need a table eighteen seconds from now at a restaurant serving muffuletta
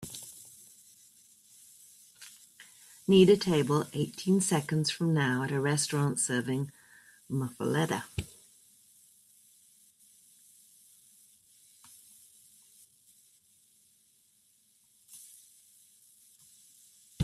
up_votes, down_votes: 2, 0